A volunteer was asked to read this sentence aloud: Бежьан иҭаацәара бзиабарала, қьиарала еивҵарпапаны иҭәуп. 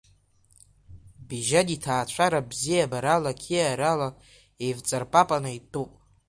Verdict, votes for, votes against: rejected, 1, 2